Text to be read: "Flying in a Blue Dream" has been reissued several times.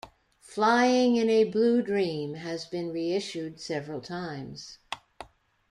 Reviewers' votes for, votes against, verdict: 2, 0, accepted